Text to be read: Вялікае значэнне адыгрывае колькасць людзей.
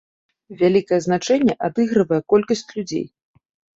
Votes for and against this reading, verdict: 2, 0, accepted